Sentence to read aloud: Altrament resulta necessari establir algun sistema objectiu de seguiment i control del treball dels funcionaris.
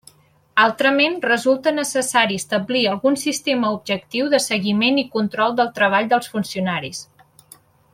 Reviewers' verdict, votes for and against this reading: accepted, 3, 0